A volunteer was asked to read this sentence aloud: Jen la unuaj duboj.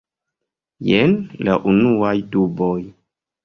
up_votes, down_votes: 2, 0